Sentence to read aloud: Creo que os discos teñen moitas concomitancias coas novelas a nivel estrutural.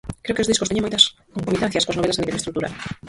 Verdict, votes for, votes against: rejected, 0, 4